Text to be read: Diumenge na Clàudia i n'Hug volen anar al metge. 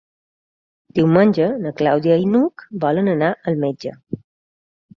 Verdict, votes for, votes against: accepted, 4, 0